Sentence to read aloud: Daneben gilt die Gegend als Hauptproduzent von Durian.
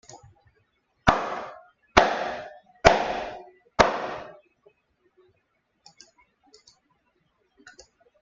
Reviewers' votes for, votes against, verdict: 0, 2, rejected